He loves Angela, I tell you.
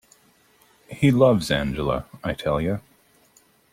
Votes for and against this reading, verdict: 2, 0, accepted